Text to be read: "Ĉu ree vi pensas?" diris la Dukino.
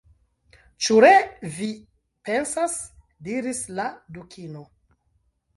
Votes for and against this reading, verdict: 1, 2, rejected